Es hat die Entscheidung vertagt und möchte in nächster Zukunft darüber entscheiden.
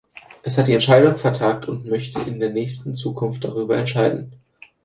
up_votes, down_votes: 0, 2